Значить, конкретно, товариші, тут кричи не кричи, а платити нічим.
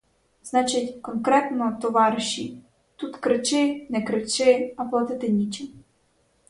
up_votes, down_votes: 2, 2